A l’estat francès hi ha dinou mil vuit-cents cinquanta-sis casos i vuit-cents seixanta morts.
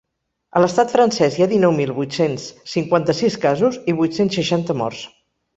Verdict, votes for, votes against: accepted, 4, 0